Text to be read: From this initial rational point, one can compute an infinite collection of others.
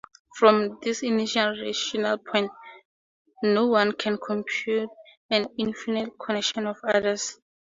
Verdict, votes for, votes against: rejected, 0, 4